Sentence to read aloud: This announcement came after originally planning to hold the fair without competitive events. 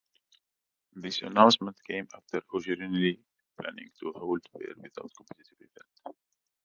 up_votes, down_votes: 0, 2